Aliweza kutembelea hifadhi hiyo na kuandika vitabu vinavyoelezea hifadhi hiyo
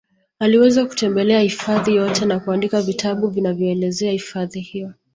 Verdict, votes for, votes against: accepted, 2, 1